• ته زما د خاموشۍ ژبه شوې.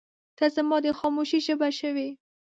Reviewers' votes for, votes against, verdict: 0, 2, rejected